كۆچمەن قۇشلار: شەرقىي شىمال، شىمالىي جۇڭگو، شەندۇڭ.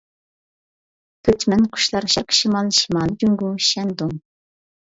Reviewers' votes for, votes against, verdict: 2, 1, accepted